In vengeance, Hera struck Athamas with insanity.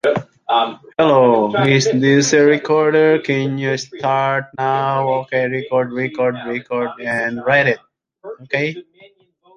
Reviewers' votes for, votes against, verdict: 0, 2, rejected